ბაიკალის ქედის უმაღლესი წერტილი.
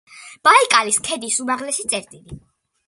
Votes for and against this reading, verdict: 2, 0, accepted